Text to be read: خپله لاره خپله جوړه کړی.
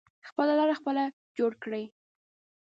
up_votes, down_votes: 1, 2